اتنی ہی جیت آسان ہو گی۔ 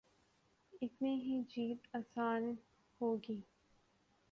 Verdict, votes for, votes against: rejected, 1, 2